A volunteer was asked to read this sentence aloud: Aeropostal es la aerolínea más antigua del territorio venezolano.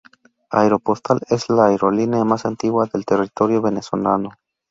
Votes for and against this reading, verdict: 2, 0, accepted